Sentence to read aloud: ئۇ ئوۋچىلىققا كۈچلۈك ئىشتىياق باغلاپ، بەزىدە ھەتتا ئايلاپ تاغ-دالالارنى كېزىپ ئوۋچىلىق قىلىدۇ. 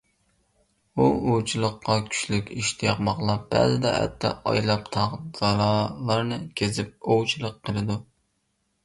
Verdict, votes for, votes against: accepted, 2, 1